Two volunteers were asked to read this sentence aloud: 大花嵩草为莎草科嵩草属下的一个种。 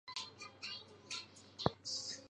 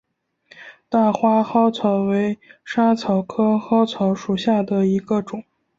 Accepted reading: second